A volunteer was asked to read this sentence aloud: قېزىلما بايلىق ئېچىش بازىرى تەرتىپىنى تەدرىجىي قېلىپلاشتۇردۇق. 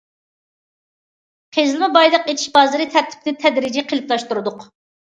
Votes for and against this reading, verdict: 2, 0, accepted